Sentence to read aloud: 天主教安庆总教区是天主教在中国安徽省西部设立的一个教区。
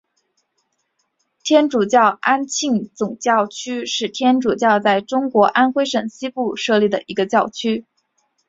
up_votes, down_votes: 7, 0